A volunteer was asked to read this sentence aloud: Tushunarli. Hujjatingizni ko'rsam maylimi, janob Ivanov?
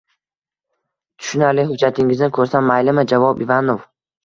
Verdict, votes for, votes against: rejected, 1, 2